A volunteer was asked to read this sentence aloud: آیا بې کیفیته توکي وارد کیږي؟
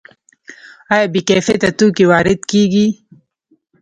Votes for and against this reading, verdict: 2, 0, accepted